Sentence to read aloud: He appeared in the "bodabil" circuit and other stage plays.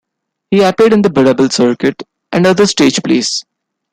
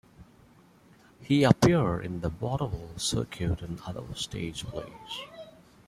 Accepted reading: first